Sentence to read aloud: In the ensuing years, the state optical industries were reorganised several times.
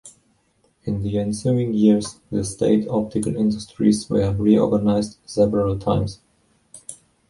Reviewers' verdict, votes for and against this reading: rejected, 1, 2